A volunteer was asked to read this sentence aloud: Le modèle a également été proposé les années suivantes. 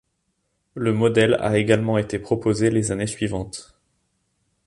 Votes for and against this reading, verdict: 2, 0, accepted